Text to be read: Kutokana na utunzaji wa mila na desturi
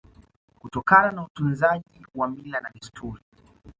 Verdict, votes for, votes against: accepted, 2, 1